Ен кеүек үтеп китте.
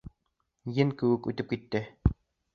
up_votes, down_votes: 2, 0